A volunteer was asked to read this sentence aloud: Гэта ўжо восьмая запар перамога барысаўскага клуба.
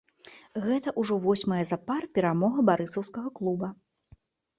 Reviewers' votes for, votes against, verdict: 2, 0, accepted